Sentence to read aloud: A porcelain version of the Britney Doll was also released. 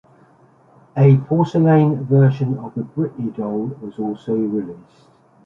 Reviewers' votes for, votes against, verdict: 2, 1, accepted